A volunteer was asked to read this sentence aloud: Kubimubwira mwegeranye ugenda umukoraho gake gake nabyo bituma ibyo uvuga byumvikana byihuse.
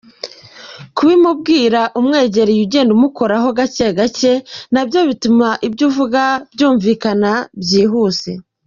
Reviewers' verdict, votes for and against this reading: accepted, 2, 0